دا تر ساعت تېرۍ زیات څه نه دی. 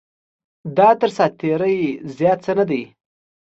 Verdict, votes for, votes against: accepted, 2, 0